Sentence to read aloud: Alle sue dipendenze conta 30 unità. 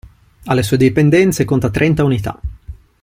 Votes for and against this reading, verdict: 0, 2, rejected